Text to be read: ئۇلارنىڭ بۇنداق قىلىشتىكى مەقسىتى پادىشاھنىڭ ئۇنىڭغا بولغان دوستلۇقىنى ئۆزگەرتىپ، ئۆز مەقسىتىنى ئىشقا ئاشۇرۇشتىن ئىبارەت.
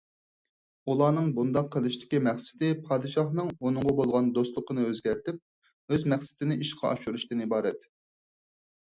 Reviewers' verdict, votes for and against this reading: accepted, 4, 0